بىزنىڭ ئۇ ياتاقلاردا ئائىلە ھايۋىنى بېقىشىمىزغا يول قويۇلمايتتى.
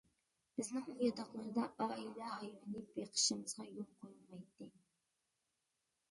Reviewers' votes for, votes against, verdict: 0, 2, rejected